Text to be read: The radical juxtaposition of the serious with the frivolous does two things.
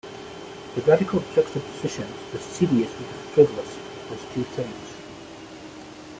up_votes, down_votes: 2, 1